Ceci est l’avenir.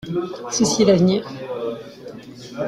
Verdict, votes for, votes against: rejected, 1, 2